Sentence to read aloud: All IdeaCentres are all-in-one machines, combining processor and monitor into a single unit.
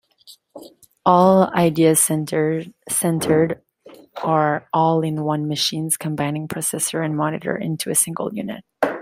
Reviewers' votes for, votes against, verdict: 0, 2, rejected